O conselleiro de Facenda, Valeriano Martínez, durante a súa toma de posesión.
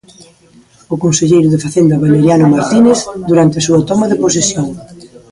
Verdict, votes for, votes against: rejected, 0, 2